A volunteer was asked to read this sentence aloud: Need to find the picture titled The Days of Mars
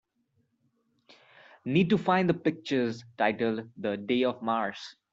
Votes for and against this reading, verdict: 0, 2, rejected